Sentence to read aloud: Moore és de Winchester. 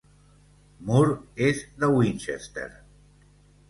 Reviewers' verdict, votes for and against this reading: accepted, 2, 0